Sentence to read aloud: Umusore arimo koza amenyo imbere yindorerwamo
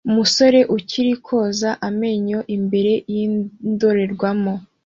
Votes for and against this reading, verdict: 2, 0, accepted